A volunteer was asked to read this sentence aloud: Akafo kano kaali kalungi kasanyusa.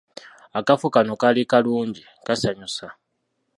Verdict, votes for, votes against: rejected, 0, 2